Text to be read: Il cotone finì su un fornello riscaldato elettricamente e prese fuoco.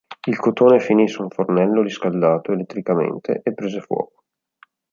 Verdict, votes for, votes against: accepted, 2, 0